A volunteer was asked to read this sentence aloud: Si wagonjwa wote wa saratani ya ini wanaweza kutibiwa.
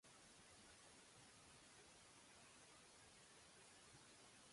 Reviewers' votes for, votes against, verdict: 0, 2, rejected